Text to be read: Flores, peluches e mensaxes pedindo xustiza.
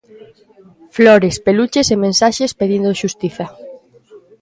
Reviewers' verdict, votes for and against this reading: rejected, 0, 2